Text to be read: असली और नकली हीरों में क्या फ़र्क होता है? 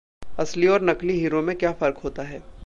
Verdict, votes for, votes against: accepted, 2, 0